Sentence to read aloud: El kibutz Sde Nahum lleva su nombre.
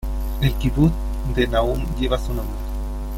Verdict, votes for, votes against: accepted, 2, 1